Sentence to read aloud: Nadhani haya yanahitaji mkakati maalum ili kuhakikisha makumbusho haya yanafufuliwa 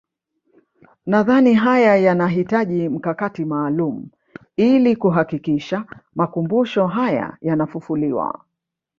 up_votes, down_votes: 2, 0